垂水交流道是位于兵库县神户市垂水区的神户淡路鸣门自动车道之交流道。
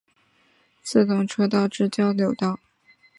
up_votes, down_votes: 2, 0